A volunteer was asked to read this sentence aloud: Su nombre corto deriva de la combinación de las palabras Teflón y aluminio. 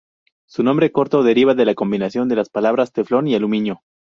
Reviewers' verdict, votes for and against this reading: accepted, 2, 0